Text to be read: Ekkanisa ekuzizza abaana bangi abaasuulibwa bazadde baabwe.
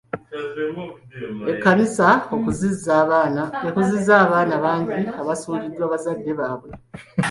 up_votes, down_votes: 0, 2